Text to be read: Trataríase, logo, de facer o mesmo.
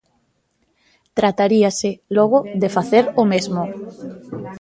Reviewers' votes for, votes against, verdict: 0, 2, rejected